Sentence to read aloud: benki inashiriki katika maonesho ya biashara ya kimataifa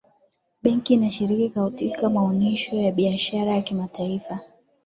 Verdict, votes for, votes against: accepted, 2, 0